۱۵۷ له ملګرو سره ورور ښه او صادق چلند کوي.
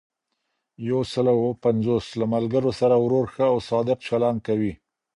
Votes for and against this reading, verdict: 0, 2, rejected